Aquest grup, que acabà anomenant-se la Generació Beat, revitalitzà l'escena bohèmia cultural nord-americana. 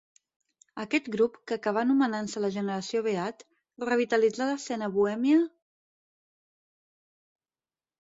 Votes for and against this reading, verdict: 0, 4, rejected